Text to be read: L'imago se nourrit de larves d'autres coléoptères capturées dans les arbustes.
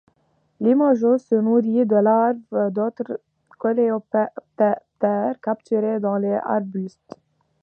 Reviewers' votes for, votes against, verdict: 0, 2, rejected